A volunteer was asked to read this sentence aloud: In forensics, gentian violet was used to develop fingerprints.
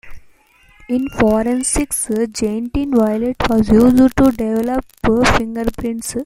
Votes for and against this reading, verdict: 0, 2, rejected